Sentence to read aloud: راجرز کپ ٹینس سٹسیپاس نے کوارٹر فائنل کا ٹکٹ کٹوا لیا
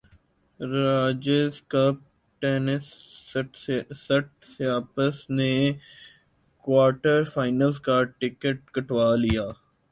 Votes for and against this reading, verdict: 2, 0, accepted